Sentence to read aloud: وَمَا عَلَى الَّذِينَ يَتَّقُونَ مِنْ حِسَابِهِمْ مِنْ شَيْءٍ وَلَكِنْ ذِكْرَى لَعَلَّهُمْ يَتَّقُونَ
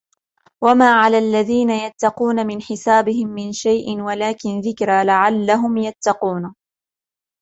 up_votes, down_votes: 2, 0